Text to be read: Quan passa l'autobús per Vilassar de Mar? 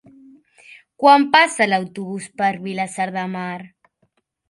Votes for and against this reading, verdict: 4, 1, accepted